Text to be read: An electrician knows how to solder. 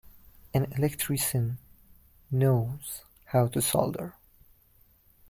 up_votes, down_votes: 2, 0